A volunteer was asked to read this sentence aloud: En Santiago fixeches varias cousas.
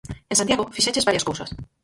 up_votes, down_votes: 0, 4